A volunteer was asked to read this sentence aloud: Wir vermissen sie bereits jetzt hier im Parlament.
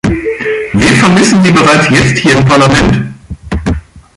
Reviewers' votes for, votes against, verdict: 1, 4, rejected